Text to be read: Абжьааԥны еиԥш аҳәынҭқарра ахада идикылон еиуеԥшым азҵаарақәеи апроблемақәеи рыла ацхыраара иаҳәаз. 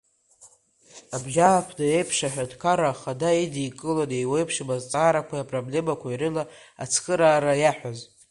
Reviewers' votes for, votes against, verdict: 0, 2, rejected